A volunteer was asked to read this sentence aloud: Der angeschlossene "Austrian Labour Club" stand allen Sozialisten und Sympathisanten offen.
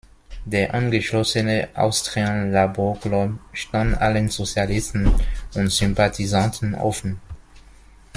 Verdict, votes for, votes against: accepted, 2, 0